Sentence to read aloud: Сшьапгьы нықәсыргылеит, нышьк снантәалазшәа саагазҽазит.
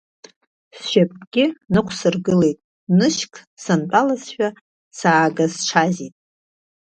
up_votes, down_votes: 2, 0